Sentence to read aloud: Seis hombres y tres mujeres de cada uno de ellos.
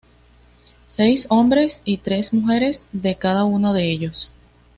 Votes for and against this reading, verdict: 2, 0, accepted